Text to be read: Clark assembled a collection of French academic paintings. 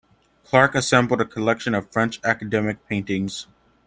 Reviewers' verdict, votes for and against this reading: accepted, 2, 0